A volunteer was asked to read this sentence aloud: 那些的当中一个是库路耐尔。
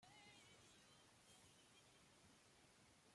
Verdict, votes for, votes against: rejected, 0, 2